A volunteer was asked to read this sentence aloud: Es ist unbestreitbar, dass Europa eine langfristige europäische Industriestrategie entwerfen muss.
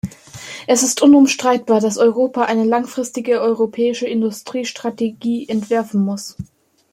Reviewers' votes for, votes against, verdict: 2, 1, accepted